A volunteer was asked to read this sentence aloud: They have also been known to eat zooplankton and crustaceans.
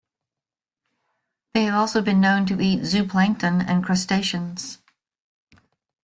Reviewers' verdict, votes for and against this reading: rejected, 1, 2